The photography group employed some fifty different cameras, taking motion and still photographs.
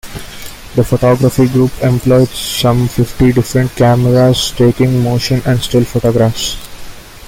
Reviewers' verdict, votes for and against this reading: accepted, 2, 0